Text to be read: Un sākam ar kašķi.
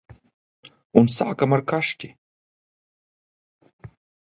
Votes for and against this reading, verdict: 2, 0, accepted